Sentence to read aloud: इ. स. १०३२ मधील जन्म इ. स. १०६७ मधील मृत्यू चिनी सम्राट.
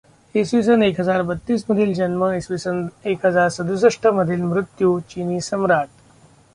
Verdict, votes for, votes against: rejected, 0, 2